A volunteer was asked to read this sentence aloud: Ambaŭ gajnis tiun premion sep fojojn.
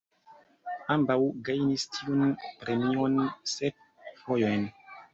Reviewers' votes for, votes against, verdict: 2, 0, accepted